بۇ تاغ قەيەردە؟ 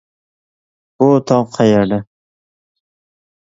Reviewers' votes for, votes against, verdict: 1, 2, rejected